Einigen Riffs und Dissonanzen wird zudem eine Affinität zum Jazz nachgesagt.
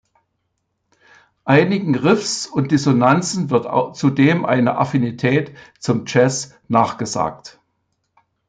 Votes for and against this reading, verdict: 0, 2, rejected